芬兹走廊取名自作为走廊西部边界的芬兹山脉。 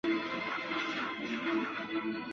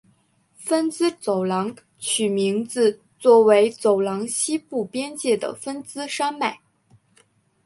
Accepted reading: second